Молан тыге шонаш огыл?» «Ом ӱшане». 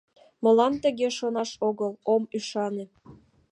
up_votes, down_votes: 2, 1